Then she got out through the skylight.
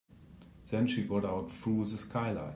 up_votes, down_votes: 2, 1